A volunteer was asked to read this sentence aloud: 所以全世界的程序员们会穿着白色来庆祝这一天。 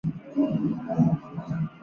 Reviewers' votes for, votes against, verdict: 0, 2, rejected